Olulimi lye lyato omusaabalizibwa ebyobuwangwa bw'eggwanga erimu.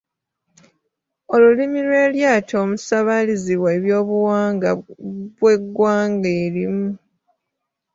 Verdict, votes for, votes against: rejected, 0, 2